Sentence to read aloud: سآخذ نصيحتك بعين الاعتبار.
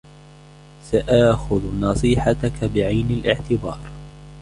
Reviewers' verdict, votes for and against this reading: accepted, 2, 0